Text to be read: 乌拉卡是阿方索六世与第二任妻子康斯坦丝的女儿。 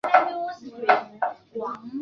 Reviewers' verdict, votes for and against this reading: rejected, 0, 2